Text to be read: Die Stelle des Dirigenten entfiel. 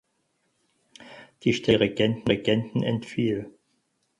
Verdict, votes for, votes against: rejected, 0, 4